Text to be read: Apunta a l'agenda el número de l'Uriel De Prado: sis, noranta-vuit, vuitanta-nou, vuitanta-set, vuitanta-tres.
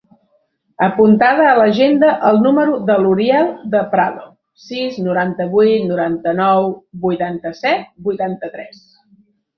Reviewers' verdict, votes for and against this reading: rejected, 0, 2